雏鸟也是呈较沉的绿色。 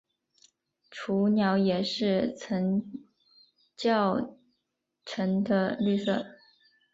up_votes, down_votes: 0, 2